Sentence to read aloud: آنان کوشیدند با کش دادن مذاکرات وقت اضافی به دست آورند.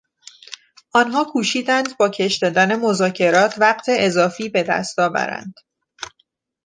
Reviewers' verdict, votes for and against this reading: rejected, 0, 2